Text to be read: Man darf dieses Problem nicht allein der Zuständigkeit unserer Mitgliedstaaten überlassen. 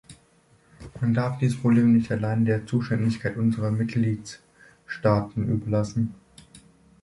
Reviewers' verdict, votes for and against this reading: rejected, 2, 3